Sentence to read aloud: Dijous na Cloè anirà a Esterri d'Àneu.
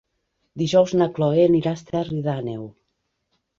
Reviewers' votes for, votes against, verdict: 3, 0, accepted